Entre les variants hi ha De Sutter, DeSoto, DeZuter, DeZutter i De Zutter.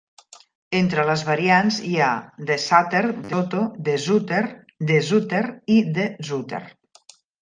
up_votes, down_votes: 0, 2